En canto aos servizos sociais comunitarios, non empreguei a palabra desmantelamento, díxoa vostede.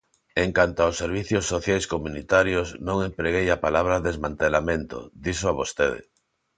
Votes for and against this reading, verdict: 0, 2, rejected